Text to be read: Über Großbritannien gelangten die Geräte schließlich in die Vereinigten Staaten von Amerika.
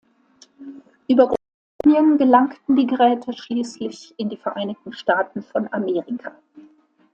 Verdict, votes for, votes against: rejected, 0, 2